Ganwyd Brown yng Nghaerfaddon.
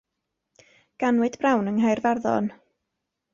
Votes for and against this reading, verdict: 2, 0, accepted